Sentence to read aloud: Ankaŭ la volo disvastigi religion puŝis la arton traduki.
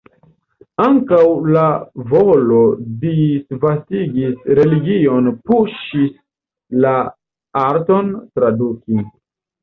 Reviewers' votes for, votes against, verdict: 0, 2, rejected